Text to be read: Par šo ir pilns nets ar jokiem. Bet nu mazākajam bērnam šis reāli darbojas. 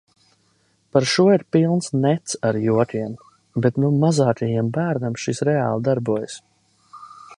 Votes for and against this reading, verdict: 2, 0, accepted